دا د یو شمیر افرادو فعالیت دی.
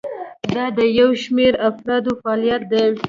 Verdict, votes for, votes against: rejected, 1, 2